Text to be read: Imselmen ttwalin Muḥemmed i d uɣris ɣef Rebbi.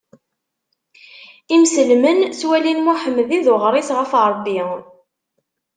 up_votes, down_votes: 2, 0